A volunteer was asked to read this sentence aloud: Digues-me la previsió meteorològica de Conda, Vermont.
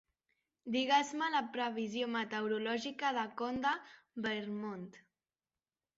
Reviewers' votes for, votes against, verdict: 1, 2, rejected